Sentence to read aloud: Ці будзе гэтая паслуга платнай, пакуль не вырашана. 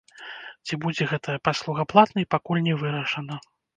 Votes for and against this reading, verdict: 3, 0, accepted